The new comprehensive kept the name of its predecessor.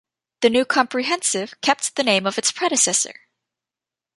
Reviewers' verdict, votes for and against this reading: accepted, 3, 0